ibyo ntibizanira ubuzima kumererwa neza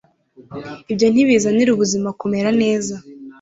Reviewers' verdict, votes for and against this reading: rejected, 1, 2